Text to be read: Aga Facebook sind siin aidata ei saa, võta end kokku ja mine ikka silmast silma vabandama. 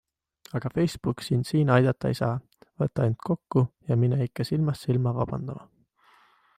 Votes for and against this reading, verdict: 2, 0, accepted